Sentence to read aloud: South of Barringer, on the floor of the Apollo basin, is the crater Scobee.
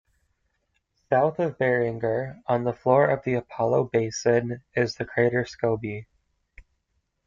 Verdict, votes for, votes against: rejected, 1, 2